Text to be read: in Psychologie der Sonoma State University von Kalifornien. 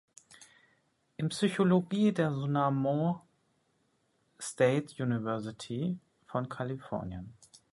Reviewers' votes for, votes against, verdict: 0, 2, rejected